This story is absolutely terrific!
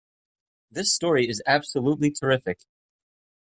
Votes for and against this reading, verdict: 2, 0, accepted